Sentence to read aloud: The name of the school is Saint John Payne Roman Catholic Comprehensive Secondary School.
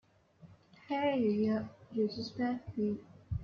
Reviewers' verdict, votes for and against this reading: rejected, 0, 2